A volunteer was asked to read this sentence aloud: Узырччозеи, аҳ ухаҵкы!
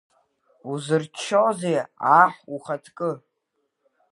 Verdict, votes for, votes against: rejected, 1, 3